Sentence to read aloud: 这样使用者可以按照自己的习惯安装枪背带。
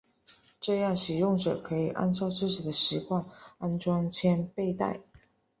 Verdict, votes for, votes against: accepted, 4, 2